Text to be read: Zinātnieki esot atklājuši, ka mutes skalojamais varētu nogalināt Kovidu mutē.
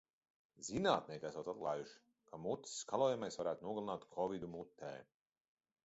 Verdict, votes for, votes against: rejected, 1, 2